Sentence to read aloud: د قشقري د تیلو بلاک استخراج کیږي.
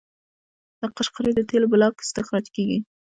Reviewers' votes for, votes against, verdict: 2, 3, rejected